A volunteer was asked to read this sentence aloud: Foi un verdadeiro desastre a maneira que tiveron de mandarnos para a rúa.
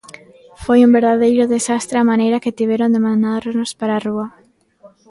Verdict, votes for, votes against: rejected, 1, 2